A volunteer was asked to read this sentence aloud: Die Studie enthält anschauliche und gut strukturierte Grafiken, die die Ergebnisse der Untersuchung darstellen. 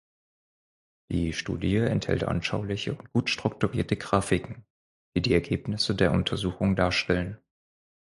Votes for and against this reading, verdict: 0, 4, rejected